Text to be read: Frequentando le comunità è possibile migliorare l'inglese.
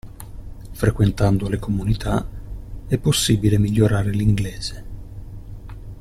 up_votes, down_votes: 2, 0